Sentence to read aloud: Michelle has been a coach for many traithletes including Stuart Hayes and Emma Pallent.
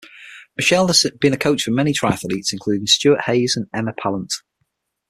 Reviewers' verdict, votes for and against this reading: accepted, 6, 0